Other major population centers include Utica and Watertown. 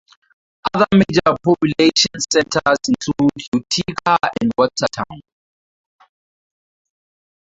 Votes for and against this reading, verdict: 0, 2, rejected